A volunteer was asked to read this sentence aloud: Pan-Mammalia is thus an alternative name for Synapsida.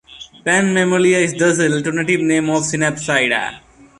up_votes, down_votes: 2, 1